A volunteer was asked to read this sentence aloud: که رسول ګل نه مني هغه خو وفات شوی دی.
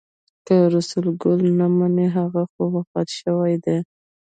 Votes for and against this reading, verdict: 1, 2, rejected